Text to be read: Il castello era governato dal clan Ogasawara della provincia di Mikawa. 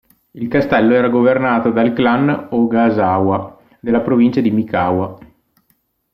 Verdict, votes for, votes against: rejected, 1, 2